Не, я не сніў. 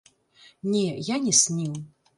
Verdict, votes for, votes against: rejected, 1, 2